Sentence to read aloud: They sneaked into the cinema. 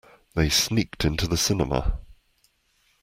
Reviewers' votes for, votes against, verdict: 2, 0, accepted